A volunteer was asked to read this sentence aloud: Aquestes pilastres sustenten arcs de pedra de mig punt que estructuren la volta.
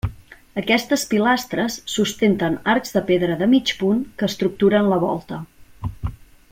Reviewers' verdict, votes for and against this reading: accepted, 3, 0